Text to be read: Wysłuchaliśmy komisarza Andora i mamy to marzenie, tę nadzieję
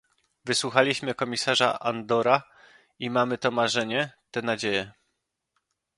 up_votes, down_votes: 2, 0